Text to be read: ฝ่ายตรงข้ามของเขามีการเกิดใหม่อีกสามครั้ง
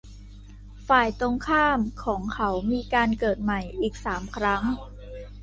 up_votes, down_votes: 2, 0